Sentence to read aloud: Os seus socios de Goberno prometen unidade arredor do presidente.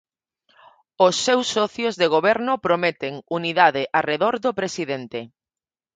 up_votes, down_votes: 4, 0